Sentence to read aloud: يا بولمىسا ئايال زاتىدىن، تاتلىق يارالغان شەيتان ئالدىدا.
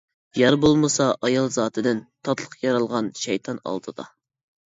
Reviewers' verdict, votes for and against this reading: rejected, 1, 3